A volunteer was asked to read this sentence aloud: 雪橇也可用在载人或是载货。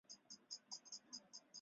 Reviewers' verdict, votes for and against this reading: rejected, 0, 3